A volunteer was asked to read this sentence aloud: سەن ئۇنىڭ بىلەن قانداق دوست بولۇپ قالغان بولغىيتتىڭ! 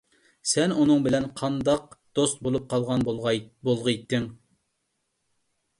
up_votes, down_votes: 1, 2